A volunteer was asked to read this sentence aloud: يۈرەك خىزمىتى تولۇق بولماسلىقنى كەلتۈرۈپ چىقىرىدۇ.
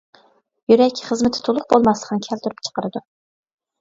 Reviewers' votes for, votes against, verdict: 2, 0, accepted